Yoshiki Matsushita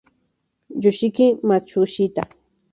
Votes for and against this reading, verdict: 2, 0, accepted